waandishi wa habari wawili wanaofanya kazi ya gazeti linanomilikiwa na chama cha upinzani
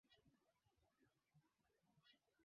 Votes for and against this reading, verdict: 0, 2, rejected